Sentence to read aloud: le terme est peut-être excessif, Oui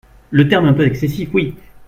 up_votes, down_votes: 1, 2